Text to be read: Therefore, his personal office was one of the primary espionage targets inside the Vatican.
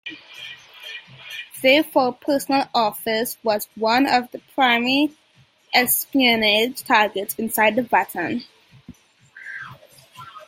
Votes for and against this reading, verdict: 0, 2, rejected